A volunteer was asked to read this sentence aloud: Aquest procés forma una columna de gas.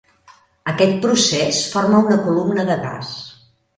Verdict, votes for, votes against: accepted, 2, 0